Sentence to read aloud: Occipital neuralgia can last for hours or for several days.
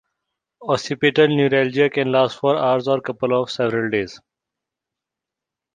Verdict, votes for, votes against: rejected, 0, 2